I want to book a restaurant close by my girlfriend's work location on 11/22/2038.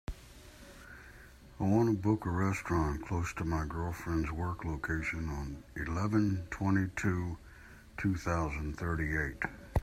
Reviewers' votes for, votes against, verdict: 0, 2, rejected